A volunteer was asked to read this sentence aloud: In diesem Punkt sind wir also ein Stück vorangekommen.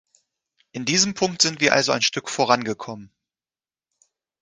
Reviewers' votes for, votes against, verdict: 2, 0, accepted